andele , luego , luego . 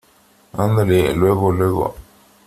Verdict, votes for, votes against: accepted, 3, 0